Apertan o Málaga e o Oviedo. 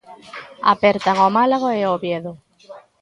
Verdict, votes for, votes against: accepted, 2, 0